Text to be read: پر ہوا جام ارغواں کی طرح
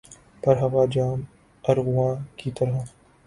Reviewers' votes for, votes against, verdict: 0, 2, rejected